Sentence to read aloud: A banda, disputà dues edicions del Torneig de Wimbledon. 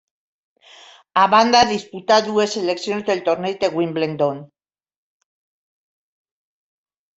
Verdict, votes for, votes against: rejected, 1, 2